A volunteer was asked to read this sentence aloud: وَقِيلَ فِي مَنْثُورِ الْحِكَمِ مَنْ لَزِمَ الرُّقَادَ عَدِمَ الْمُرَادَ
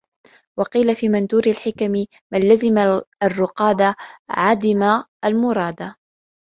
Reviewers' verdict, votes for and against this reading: accepted, 2, 0